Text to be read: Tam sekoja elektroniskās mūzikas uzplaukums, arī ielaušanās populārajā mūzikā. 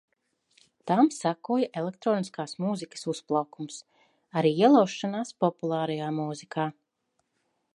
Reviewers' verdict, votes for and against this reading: accepted, 2, 0